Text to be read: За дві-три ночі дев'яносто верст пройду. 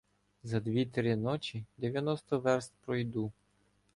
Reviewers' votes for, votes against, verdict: 2, 0, accepted